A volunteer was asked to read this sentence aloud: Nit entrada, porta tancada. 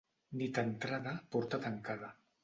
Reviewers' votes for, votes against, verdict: 2, 0, accepted